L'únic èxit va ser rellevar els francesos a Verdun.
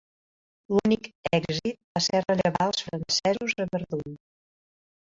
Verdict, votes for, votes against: accepted, 2, 1